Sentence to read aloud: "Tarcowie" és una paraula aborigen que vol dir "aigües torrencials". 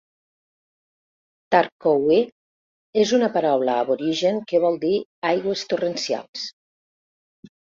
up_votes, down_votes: 2, 0